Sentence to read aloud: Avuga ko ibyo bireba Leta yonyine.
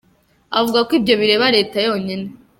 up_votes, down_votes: 2, 0